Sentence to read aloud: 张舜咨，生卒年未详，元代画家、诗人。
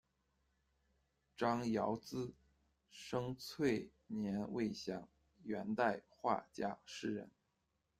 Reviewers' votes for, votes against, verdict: 0, 2, rejected